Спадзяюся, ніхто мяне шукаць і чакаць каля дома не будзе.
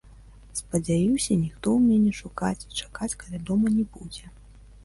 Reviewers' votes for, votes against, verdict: 2, 1, accepted